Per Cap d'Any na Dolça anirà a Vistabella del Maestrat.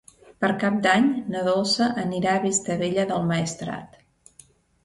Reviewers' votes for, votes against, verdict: 2, 0, accepted